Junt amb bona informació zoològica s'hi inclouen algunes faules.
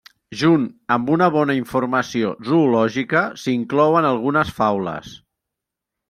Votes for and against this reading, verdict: 1, 2, rejected